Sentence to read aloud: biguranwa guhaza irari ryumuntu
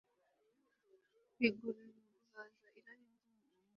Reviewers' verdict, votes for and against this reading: rejected, 1, 2